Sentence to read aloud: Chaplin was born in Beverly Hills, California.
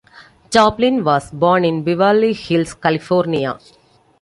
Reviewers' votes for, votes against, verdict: 2, 1, accepted